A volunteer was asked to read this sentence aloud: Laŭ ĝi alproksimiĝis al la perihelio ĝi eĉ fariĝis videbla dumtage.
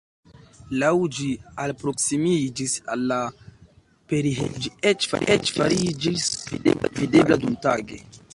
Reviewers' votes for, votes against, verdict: 1, 3, rejected